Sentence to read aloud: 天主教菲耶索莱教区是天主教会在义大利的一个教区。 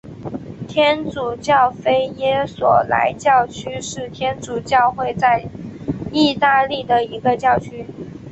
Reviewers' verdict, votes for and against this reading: accepted, 3, 0